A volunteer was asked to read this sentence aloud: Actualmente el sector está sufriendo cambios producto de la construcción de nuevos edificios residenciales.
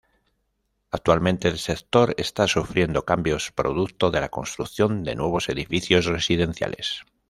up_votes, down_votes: 1, 2